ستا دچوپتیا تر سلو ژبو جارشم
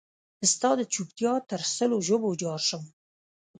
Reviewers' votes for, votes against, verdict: 1, 3, rejected